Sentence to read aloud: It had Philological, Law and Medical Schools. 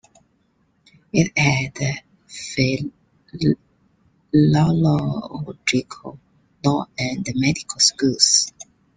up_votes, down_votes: 0, 2